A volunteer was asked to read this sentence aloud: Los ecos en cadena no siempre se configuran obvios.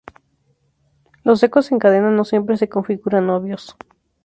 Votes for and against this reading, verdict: 0, 2, rejected